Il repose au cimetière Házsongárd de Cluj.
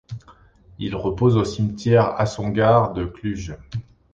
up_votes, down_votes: 2, 0